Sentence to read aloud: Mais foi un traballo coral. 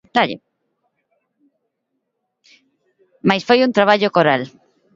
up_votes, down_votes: 2, 0